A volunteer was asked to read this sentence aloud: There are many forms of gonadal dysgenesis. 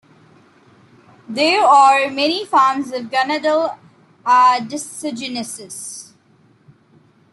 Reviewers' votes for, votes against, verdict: 0, 2, rejected